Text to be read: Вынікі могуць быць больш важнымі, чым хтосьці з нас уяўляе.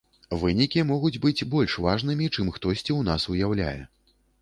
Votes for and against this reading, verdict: 1, 2, rejected